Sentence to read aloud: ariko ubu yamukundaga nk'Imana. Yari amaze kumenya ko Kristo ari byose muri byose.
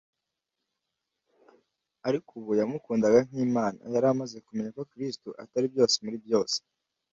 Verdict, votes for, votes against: rejected, 1, 2